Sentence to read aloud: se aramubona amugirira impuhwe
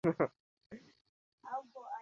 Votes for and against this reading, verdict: 0, 2, rejected